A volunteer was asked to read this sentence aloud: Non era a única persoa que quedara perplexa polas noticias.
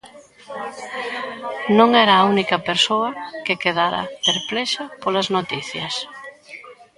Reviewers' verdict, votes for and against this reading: rejected, 1, 2